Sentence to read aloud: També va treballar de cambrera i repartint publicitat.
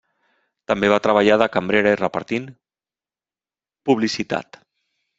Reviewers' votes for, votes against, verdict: 1, 2, rejected